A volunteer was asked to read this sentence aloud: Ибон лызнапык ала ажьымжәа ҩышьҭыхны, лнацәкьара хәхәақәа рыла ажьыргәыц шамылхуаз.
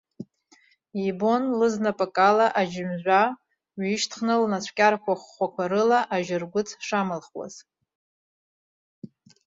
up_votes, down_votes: 0, 2